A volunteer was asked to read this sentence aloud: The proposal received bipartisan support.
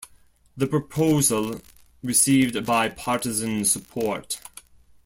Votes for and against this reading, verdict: 2, 0, accepted